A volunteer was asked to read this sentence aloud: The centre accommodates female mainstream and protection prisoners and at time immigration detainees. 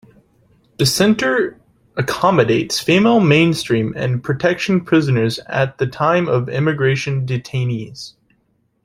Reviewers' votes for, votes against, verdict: 1, 2, rejected